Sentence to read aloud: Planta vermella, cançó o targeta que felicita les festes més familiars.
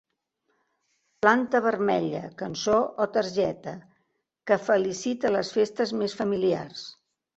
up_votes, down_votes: 2, 0